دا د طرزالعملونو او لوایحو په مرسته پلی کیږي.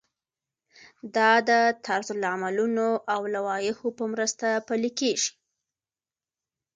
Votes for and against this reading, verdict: 2, 0, accepted